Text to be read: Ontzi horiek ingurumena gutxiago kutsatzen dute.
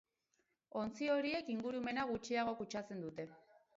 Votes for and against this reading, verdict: 0, 2, rejected